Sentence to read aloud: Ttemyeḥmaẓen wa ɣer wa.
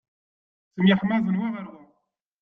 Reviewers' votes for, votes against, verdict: 0, 2, rejected